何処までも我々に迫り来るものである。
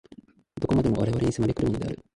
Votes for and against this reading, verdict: 0, 2, rejected